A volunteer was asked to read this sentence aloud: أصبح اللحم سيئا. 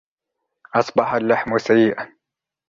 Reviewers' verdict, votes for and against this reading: rejected, 1, 2